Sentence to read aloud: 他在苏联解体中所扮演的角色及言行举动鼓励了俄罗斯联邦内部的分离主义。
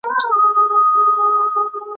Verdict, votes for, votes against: rejected, 0, 4